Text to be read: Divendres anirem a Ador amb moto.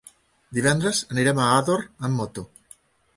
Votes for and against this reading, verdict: 3, 1, accepted